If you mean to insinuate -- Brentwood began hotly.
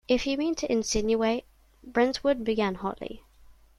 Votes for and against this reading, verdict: 2, 1, accepted